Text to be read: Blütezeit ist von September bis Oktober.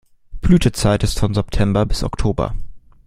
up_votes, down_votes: 2, 0